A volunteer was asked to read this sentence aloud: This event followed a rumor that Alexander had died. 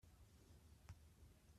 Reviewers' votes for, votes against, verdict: 0, 2, rejected